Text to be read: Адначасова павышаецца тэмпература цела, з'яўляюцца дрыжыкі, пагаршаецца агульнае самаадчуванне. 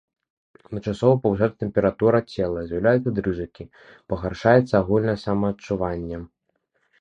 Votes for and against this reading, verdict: 1, 2, rejected